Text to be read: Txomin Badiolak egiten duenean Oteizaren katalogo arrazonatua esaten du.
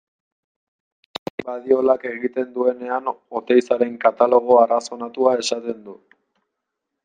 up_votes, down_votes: 1, 2